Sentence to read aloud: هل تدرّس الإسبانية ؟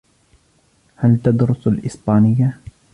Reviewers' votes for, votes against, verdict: 0, 2, rejected